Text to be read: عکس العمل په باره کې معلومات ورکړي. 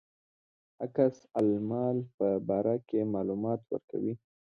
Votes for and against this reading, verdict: 2, 0, accepted